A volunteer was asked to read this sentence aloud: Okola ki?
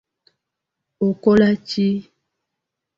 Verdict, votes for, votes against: accepted, 2, 0